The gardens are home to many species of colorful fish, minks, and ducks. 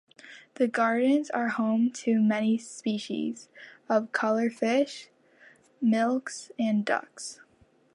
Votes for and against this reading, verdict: 0, 2, rejected